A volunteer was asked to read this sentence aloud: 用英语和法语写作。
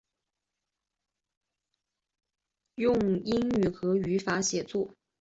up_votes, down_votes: 2, 0